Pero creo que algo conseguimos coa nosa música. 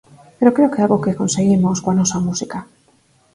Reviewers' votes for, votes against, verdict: 4, 2, accepted